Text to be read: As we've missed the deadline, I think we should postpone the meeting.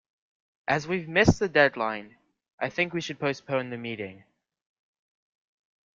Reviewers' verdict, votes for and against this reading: accepted, 2, 0